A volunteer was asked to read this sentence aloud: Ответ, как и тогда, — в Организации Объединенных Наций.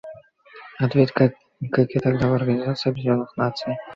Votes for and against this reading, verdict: 1, 2, rejected